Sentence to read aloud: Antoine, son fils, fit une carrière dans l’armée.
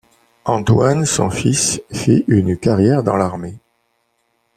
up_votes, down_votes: 2, 0